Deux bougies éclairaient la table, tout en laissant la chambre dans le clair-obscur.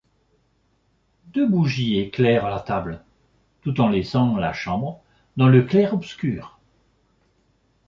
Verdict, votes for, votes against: rejected, 0, 2